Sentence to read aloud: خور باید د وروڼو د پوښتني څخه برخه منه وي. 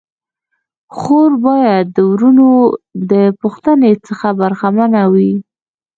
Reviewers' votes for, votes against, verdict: 2, 0, accepted